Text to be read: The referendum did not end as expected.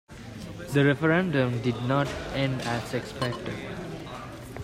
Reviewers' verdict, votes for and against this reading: accepted, 2, 0